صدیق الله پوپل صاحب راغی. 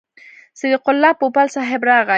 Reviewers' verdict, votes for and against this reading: rejected, 1, 2